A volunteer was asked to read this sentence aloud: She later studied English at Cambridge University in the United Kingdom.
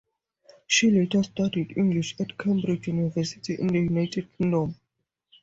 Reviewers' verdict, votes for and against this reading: accepted, 2, 0